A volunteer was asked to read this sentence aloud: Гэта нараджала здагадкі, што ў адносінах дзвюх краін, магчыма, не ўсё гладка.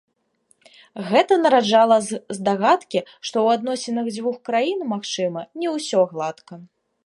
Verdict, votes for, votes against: rejected, 0, 2